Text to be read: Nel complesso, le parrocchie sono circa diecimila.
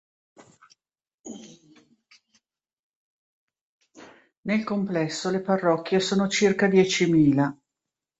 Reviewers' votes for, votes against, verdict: 1, 2, rejected